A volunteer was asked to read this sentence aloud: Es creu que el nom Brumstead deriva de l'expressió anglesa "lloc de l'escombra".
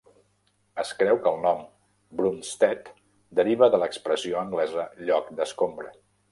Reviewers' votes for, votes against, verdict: 1, 2, rejected